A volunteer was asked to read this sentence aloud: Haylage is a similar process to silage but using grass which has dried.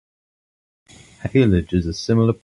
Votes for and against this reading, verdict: 0, 2, rejected